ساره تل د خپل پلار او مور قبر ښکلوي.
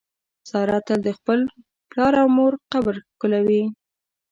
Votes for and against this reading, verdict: 2, 0, accepted